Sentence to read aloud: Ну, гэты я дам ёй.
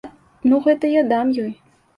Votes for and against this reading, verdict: 2, 0, accepted